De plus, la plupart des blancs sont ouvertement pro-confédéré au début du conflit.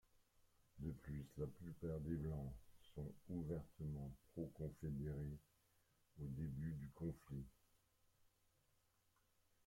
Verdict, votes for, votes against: rejected, 0, 2